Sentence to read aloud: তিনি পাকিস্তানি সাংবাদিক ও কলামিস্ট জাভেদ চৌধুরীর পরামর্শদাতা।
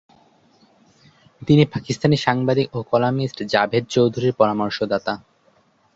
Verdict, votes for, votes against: accepted, 2, 0